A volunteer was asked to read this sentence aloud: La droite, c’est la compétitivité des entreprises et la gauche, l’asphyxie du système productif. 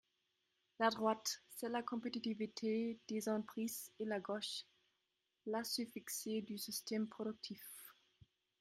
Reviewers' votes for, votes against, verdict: 0, 2, rejected